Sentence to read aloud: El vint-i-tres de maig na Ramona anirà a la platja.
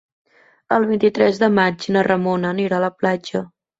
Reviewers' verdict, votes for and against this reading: accepted, 3, 0